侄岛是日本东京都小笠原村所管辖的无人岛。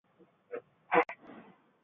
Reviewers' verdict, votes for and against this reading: rejected, 0, 2